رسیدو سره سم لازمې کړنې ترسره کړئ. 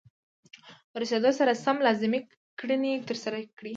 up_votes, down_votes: 2, 0